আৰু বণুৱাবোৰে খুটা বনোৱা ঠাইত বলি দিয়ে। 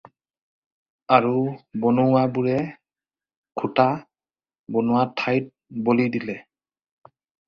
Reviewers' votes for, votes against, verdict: 2, 2, rejected